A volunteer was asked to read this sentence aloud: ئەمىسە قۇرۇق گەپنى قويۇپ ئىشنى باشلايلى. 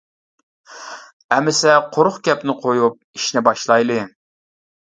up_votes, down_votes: 2, 0